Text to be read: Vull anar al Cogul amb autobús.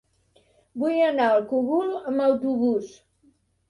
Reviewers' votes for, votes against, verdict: 3, 0, accepted